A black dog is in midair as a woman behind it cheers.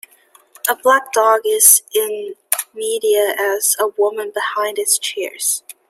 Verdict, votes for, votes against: accepted, 2, 1